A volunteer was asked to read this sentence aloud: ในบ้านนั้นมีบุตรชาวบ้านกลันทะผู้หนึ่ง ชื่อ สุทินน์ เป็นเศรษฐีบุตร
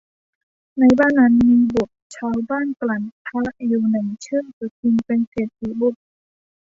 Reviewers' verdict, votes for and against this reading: rejected, 1, 2